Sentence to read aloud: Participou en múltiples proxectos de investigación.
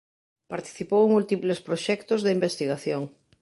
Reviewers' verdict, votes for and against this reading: accepted, 2, 0